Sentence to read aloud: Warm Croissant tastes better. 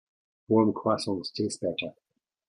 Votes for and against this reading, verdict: 1, 2, rejected